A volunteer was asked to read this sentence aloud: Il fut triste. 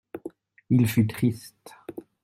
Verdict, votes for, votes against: accepted, 2, 0